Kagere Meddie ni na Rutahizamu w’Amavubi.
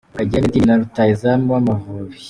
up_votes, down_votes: 0, 2